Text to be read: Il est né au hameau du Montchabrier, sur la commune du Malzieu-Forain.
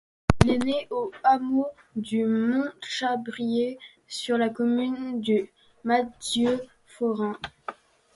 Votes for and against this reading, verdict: 2, 0, accepted